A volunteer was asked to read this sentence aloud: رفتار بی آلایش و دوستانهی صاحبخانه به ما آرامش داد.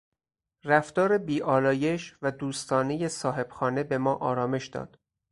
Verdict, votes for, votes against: accepted, 4, 0